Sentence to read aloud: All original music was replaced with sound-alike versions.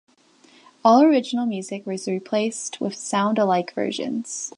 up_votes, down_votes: 2, 0